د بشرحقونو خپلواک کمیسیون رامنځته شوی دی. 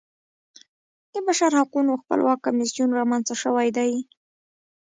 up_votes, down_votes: 1, 2